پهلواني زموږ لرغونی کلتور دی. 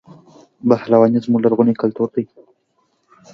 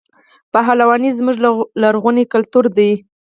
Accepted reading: first